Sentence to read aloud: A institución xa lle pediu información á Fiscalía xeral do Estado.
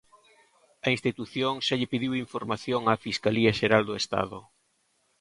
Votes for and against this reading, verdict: 2, 1, accepted